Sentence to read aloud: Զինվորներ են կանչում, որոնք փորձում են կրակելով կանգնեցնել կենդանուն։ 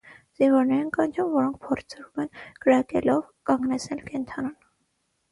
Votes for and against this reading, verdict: 3, 3, rejected